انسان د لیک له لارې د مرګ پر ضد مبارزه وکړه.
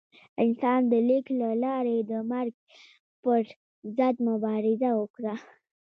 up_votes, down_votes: 0, 2